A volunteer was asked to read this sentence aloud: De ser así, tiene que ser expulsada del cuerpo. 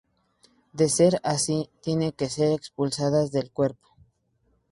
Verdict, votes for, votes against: accepted, 2, 0